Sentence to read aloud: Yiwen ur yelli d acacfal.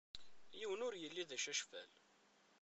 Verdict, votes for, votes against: rejected, 1, 2